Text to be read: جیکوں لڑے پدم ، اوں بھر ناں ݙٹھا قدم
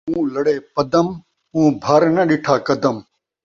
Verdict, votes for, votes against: rejected, 1, 2